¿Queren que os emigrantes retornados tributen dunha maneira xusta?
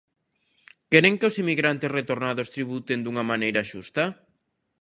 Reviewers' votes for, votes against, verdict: 2, 0, accepted